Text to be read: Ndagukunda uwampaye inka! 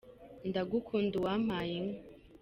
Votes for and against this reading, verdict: 2, 0, accepted